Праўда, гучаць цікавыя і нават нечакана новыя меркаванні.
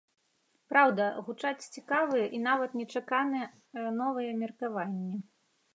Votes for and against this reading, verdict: 1, 2, rejected